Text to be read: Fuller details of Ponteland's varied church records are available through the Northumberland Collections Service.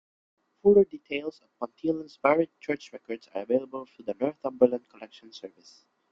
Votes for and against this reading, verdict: 1, 2, rejected